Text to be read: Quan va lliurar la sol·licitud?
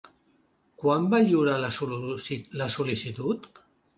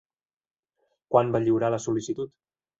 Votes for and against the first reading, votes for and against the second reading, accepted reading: 0, 2, 5, 1, second